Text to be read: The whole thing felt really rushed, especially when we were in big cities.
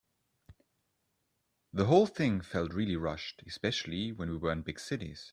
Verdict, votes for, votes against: accepted, 2, 0